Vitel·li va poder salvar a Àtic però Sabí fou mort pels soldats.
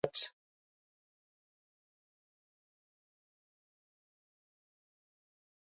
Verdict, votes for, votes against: rejected, 0, 2